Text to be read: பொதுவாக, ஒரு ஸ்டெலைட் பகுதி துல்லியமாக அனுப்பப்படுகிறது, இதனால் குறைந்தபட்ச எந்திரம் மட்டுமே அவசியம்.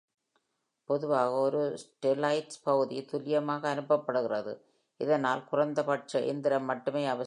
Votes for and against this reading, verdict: 1, 2, rejected